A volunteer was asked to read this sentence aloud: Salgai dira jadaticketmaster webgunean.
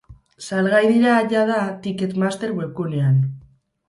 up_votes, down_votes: 2, 2